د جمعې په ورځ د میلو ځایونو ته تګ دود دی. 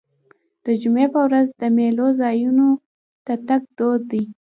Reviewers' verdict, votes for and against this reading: accepted, 2, 0